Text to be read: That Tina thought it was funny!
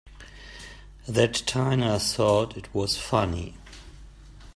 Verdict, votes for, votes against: rejected, 0, 2